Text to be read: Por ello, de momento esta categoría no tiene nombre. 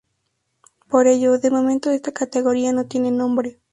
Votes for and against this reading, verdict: 4, 2, accepted